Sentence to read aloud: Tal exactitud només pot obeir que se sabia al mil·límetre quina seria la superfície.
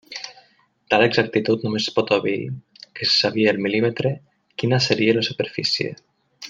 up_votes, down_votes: 2, 0